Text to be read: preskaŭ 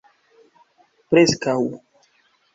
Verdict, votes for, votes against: accepted, 2, 0